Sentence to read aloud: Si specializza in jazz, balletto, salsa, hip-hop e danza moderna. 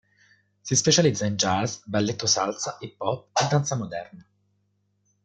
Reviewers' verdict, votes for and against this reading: accepted, 2, 0